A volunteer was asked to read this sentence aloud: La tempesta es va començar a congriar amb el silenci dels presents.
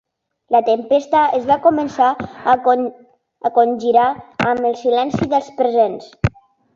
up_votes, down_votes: 0, 2